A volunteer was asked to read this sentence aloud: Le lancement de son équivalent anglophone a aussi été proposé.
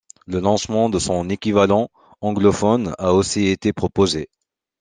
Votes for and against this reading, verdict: 2, 0, accepted